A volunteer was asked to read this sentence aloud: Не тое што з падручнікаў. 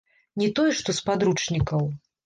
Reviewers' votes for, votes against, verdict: 0, 2, rejected